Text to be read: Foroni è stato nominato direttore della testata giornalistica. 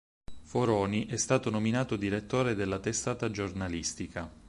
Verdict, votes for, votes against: accepted, 4, 0